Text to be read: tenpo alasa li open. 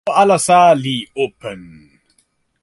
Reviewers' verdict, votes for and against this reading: rejected, 0, 2